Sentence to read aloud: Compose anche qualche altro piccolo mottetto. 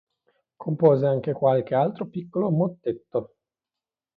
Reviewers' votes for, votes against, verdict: 2, 0, accepted